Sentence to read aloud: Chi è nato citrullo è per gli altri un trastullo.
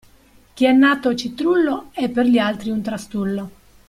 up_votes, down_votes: 2, 0